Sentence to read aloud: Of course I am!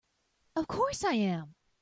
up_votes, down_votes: 2, 0